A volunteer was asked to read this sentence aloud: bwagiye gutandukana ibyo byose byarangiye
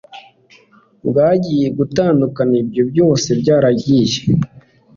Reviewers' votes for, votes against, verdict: 2, 0, accepted